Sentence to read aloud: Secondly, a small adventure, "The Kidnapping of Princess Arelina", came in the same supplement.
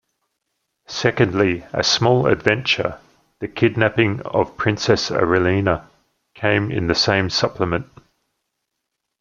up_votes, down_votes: 2, 0